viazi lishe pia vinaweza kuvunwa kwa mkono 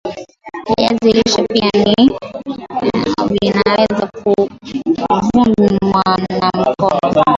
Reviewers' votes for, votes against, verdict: 0, 2, rejected